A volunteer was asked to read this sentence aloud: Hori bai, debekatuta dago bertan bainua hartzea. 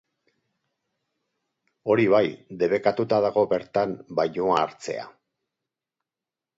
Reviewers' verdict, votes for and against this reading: accepted, 4, 0